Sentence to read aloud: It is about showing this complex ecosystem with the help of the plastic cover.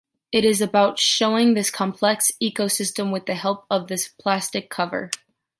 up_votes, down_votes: 1, 3